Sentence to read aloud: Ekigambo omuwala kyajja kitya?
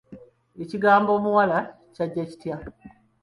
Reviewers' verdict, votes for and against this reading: accepted, 2, 0